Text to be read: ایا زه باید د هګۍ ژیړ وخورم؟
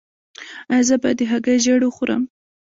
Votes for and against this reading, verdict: 1, 2, rejected